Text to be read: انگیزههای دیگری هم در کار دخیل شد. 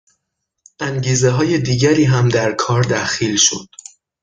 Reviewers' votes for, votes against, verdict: 6, 0, accepted